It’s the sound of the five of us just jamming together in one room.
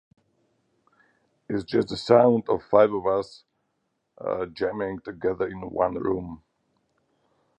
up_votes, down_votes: 0, 4